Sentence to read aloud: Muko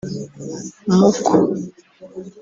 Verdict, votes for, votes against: rejected, 1, 2